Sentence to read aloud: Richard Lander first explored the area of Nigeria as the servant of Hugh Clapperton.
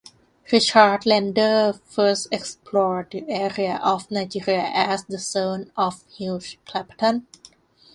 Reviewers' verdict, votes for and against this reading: rejected, 0, 2